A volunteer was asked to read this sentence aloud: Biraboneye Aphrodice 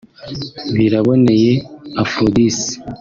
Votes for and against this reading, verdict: 2, 0, accepted